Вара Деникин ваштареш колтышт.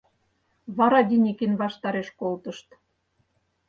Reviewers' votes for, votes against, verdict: 4, 0, accepted